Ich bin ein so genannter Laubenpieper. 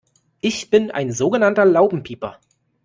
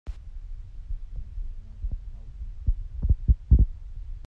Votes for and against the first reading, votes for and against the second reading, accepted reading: 2, 0, 0, 2, first